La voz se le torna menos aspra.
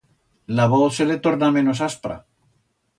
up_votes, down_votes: 2, 0